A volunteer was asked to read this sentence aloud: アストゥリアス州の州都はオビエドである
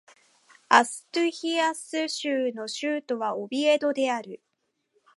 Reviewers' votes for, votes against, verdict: 1, 2, rejected